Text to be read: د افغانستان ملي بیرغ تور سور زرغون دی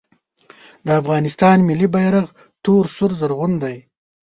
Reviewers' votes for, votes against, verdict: 2, 1, accepted